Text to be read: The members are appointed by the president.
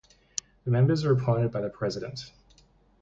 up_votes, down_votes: 2, 0